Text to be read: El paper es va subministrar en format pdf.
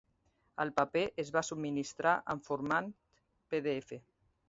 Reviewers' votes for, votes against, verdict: 2, 0, accepted